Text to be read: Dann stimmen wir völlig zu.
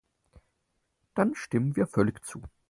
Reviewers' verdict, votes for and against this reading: accepted, 4, 0